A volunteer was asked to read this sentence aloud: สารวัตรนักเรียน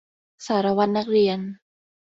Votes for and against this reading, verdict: 2, 0, accepted